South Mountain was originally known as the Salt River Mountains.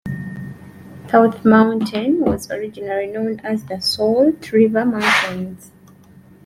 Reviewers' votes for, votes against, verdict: 2, 0, accepted